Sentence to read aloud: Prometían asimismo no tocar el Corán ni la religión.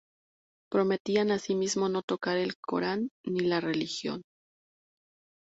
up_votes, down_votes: 2, 0